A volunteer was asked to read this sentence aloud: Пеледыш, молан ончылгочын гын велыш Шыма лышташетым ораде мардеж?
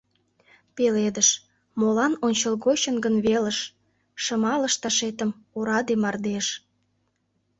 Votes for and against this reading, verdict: 2, 1, accepted